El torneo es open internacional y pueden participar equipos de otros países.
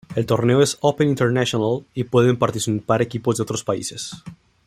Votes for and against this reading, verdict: 2, 0, accepted